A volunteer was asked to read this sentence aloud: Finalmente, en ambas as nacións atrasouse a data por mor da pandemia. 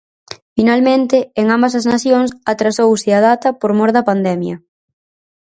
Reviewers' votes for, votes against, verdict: 4, 0, accepted